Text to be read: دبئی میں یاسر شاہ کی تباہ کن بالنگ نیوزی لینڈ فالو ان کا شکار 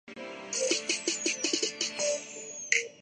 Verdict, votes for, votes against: rejected, 0, 3